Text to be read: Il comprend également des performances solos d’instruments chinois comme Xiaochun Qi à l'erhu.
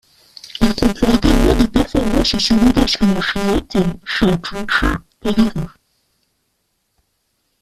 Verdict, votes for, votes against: rejected, 0, 2